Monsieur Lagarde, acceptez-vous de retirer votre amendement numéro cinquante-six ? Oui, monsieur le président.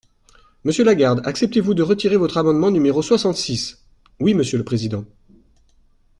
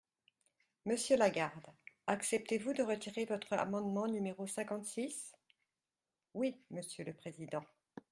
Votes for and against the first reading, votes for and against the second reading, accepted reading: 0, 2, 2, 1, second